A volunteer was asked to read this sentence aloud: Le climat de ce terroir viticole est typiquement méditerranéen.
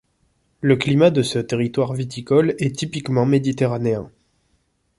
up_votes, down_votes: 0, 3